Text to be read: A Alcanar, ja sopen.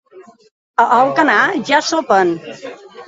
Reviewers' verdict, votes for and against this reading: accepted, 2, 0